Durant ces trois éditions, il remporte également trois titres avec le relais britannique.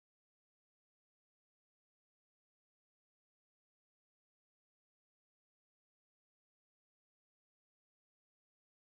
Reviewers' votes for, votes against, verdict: 0, 2, rejected